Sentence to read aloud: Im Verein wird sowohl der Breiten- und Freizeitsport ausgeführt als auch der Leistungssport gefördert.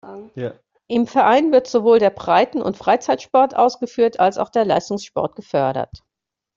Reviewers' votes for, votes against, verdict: 2, 0, accepted